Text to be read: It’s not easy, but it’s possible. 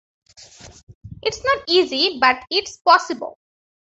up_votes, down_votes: 2, 0